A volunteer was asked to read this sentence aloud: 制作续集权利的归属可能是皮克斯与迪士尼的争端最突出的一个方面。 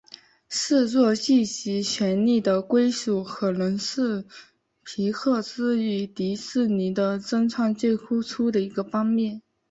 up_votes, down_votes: 3, 1